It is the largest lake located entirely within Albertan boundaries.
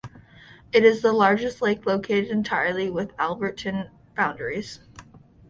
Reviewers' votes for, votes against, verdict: 0, 2, rejected